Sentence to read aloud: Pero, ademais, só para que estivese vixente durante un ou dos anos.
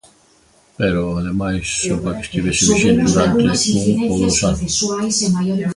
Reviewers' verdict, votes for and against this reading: rejected, 1, 2